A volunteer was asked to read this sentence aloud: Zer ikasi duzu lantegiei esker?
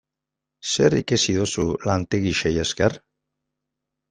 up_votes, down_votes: 1, 2